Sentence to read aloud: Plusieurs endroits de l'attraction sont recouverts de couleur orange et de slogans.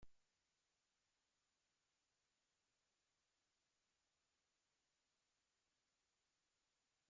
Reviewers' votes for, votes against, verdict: 0, 2, rejected